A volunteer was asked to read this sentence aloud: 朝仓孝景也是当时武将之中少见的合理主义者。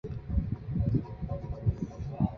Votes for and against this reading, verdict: 0, 4, rejected